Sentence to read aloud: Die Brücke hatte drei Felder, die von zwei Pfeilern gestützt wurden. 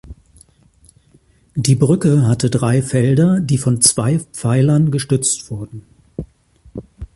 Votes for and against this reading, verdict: 3, 1, accepted